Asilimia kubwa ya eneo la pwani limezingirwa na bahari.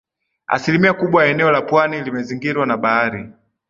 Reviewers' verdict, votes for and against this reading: rejected, 1, 3